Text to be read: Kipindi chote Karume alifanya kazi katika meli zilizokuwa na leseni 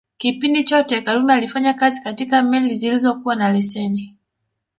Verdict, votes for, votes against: rejected, 0, 2